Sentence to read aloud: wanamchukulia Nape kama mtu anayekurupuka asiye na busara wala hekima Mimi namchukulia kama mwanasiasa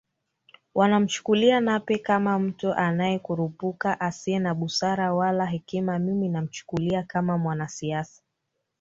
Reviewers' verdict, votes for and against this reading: accepted, 2, 1